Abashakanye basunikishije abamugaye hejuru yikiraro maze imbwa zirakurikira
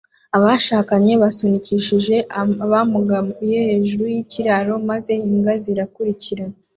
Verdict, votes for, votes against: rejected, 0, 2